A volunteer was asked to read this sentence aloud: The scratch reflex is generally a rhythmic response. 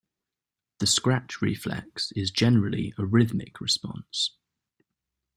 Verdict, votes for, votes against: accepted, 2, 0